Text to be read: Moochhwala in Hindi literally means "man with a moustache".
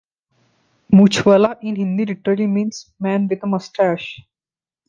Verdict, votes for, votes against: accepted, 2, 1